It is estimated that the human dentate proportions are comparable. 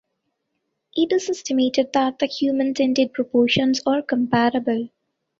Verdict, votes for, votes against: accepted, 2, 1